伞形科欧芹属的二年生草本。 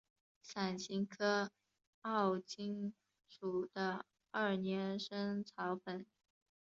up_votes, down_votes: 3, 0